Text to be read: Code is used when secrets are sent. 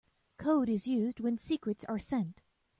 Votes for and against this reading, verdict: 2, 0, accepted